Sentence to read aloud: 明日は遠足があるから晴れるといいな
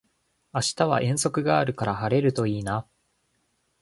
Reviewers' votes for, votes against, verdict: 0, 2, rejected